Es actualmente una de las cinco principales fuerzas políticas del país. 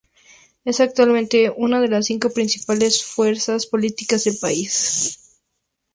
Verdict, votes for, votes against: accepted, 4, 0